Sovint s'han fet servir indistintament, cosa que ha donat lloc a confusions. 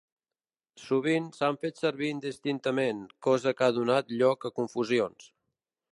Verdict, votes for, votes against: accepted, 2, 0